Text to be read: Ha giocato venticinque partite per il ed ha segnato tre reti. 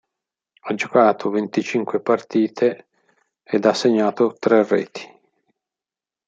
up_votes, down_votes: 1, 2